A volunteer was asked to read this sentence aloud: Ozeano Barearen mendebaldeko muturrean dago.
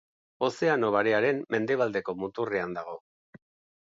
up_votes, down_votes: 2, 1